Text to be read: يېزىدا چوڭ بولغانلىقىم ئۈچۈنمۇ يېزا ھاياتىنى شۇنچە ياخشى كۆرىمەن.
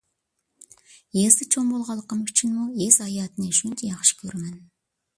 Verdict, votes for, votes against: accepted, 2, 0